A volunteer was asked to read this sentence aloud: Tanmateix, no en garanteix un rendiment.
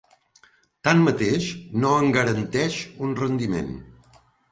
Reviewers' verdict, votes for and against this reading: accepted, 2, 0